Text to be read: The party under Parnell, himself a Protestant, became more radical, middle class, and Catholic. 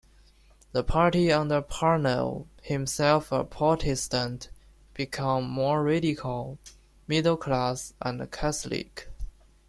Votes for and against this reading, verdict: 1, 2, rejected